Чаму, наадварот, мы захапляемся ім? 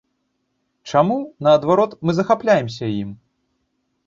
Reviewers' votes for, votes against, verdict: 2, 0, accepted